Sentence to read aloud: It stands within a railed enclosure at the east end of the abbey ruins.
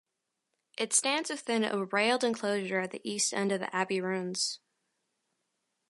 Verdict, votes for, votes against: accepted, 2, 0